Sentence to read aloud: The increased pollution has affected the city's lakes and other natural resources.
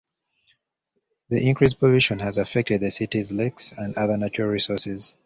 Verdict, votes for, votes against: rejected, 0, 2